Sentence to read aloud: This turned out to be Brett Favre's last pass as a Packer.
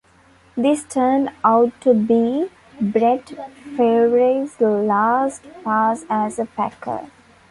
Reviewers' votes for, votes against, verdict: 1, 2, rejected